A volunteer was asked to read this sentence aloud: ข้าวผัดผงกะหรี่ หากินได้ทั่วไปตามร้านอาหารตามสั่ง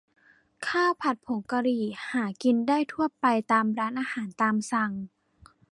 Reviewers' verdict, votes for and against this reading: accepted, 2, 0